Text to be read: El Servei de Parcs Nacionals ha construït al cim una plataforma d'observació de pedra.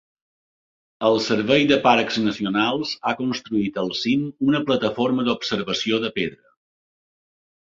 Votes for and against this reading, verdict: 2, 0, accepted